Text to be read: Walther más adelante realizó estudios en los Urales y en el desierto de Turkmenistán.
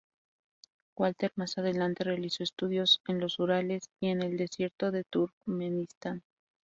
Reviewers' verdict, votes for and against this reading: rejected, 0, 2